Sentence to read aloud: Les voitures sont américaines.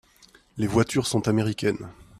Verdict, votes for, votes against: accepted, 2, 0